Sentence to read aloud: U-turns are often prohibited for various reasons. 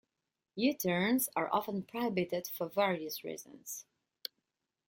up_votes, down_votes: 2, 0